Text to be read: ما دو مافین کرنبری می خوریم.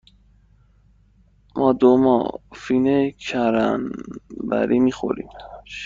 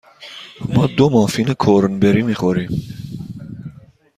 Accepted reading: second